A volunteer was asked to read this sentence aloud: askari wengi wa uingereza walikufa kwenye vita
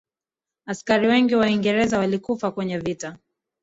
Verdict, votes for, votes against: rejected, 0, 2